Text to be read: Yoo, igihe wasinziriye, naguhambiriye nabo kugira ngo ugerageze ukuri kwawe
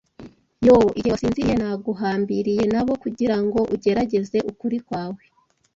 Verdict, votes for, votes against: accepted, 2, 0